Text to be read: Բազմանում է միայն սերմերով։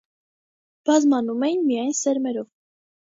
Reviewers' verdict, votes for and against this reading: rejected, 1, 2